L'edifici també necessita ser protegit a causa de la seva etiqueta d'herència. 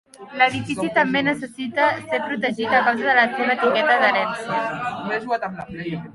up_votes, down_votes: 0, 2